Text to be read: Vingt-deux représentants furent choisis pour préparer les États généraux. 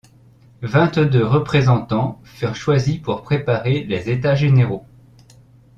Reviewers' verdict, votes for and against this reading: rejected, 0, 2